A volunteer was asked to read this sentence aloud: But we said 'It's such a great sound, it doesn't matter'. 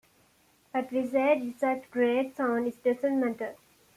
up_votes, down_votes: 0, 2